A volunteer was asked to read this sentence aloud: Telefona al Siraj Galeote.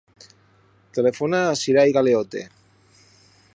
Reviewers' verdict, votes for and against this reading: rejected, 2, 4